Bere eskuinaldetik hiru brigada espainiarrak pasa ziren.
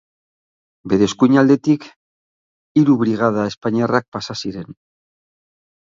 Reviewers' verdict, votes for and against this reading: accepted, 9, 0